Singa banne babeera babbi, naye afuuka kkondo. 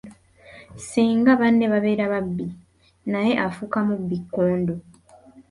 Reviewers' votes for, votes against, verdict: 0, 2, rejected